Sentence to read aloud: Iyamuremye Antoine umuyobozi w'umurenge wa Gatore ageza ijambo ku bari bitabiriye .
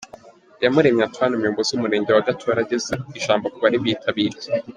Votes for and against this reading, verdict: 1, 2, rejected